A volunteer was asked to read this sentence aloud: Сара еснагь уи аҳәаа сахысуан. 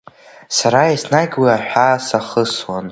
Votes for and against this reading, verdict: 2, 0, accepted